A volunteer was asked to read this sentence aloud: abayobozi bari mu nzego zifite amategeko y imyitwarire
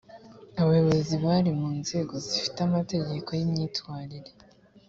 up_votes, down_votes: 2, 0